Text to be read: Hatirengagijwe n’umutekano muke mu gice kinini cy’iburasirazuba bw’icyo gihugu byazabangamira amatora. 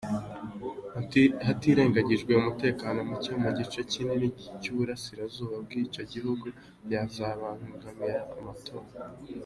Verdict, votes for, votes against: accepted, 2, 1